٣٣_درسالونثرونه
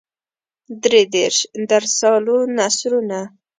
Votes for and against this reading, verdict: 0, 2, rejected